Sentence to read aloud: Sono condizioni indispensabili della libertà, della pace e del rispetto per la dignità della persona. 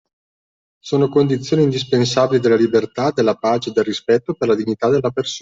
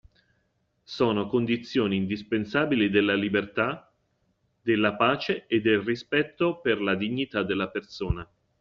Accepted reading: second